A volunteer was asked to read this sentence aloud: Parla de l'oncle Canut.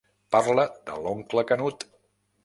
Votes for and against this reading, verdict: 3, 0, accepted